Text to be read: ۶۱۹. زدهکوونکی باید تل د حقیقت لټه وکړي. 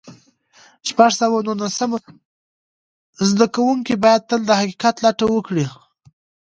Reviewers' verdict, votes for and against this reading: rejected, 0, 2